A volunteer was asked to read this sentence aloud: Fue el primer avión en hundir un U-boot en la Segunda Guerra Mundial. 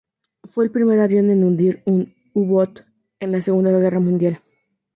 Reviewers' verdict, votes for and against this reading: accepted, 4, 2